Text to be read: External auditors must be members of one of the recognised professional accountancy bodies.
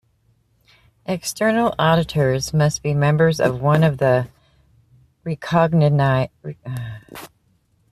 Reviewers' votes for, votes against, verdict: 1, 2, rejected